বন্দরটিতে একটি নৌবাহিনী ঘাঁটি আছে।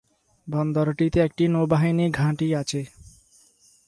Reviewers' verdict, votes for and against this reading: accepted, 6, 0